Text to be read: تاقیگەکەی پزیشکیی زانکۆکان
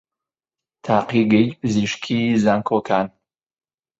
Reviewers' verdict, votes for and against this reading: rejected, 0, 2